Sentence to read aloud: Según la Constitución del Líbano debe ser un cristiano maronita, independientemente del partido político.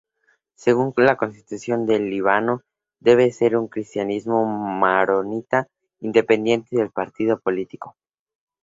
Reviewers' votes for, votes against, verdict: 2, 2, rejected